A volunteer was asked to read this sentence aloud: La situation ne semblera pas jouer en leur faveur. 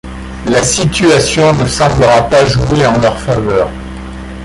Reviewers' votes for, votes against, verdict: 1, 2, rejected